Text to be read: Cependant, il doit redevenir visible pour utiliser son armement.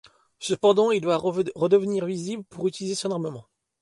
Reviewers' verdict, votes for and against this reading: rejected, 1, 2